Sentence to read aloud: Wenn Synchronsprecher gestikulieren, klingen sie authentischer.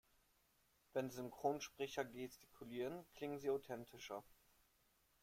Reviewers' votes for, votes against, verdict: 2, 1, accepted